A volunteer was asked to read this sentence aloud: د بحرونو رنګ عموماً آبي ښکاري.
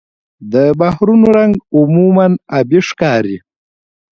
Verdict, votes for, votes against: rejected, 1, 2